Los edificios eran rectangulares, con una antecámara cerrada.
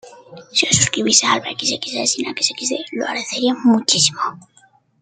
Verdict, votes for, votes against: rejected, 0, 2